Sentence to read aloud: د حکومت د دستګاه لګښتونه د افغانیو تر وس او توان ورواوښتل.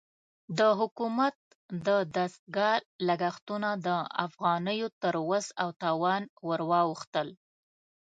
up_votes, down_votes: 2, 0